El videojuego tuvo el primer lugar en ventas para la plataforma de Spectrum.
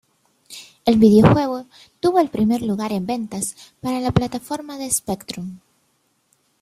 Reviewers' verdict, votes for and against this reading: accepted, 2, 0